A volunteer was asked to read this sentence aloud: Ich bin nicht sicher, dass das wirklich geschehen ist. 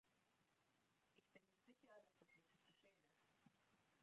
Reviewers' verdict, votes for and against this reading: rejected, 0, 2